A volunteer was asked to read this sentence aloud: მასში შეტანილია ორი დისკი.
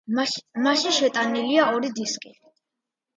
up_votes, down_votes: 2, 0